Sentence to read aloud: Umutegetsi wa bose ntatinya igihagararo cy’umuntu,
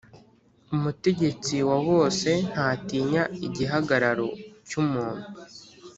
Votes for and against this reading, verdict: 4, 0, accepted